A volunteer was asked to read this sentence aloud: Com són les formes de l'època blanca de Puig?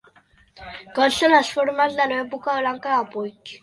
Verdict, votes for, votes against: rejected, 0, 2